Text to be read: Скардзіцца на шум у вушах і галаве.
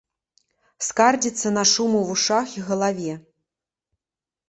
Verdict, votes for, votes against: accepted, 2, 0